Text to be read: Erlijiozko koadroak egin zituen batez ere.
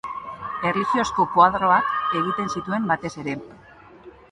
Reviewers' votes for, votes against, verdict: 1, 3, rejected